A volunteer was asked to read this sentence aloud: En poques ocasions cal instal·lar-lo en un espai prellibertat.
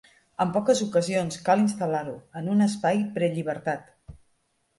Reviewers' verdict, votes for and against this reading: accepted, 2, 0